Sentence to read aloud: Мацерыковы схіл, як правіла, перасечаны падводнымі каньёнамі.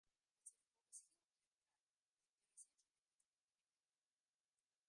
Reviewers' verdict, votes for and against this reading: rejected, 0, 2